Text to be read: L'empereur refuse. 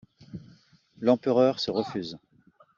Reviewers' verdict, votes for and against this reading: rejected, 0, 2